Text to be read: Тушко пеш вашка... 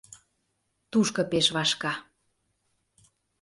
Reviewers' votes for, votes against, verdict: 2, 0, accepted